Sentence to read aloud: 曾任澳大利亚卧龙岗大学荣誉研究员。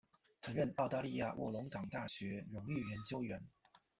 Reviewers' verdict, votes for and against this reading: accepted, 2, 0